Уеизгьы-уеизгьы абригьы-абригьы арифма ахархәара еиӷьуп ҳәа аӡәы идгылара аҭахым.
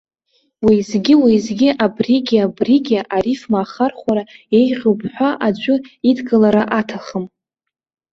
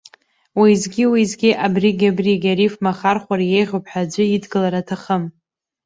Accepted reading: first